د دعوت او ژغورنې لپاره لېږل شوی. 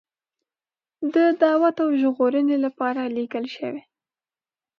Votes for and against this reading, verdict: 1, 2, rejected